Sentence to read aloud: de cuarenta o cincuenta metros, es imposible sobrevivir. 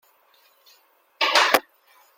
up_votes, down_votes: 0, 2